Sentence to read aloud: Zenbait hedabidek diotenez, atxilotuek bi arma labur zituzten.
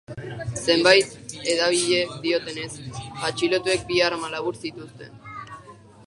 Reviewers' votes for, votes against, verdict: 1, 2, rejected